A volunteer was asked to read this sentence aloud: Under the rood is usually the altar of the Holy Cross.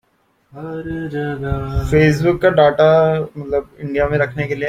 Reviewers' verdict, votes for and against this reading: rejected, 0, 2